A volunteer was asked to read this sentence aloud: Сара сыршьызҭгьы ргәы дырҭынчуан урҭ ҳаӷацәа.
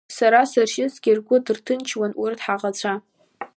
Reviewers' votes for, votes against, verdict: 1, 2, rejected